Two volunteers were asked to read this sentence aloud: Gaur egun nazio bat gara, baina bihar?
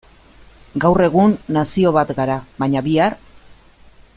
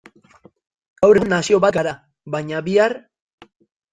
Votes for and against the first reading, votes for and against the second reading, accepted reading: 2, 0, 0, 3, first